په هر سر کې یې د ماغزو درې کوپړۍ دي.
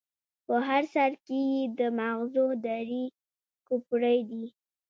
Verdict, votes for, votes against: rejected, 1, 2